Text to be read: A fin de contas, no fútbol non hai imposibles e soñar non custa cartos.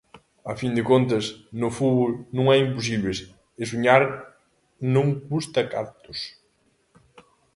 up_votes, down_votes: 2, 1